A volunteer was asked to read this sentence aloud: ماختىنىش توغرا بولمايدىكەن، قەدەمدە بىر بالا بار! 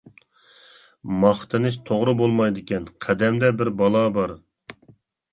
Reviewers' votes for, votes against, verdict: 2, 0, accepted